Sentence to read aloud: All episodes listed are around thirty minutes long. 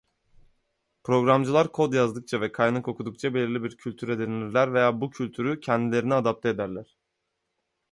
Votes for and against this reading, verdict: 0, 2, rejected